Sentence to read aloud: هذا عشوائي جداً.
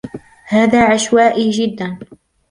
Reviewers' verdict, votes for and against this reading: accepted, 2, 0